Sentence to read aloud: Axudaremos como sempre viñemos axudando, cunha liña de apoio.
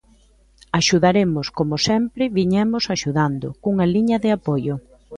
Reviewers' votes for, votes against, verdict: 2, 0, accepted